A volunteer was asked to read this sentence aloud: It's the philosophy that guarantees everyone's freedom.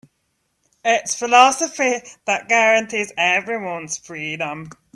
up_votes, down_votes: 1, 2